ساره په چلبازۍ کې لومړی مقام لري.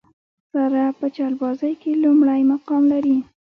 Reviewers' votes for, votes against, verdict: 2, 0, accepted